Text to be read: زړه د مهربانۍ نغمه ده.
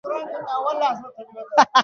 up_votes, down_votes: 0, 2